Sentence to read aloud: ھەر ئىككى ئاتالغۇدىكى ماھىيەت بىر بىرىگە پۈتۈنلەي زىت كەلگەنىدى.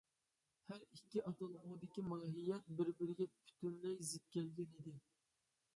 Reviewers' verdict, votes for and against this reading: rejected, 1, 2